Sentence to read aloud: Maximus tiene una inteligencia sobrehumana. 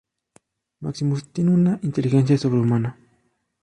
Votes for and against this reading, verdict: 0, 2, rejected